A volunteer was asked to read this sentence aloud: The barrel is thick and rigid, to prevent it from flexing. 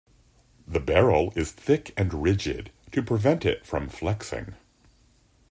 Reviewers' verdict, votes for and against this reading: accepted, 2, 0